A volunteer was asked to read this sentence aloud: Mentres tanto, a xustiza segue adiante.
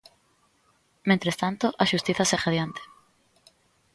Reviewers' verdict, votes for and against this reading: accepted, 2, 0